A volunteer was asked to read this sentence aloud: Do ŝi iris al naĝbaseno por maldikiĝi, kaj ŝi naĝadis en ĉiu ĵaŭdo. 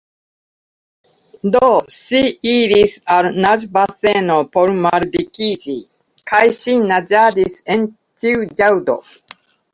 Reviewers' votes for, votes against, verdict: 1, 2, rejected